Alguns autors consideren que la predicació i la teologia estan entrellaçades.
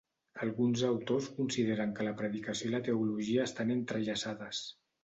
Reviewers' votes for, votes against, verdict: 2, 0, accepted